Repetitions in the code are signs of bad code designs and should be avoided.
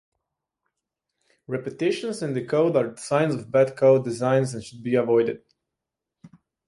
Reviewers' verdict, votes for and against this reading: accepted, 2, 0